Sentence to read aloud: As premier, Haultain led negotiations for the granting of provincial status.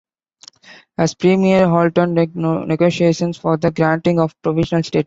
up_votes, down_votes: 0, 2